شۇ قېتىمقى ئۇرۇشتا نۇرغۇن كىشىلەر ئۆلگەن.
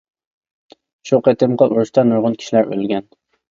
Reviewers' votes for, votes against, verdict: 0, 2, rejected